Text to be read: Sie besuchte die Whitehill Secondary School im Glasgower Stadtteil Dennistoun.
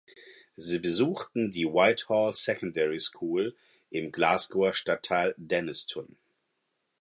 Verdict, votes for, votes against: rejected, 2, 4